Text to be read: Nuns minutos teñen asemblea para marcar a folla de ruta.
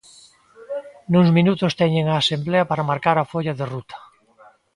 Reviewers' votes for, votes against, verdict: 1, 2, rejected